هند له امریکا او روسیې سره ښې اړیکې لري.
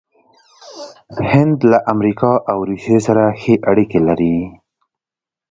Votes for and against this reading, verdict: 2, 0, accepted